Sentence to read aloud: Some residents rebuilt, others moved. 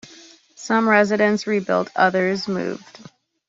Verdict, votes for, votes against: accepted, 2, 0